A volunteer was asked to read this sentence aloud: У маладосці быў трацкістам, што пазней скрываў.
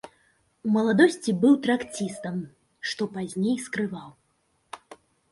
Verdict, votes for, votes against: rejected, 1, 2